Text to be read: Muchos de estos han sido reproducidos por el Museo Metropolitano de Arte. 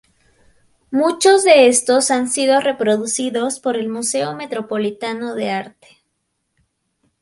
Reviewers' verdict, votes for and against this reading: rejected, 0, 2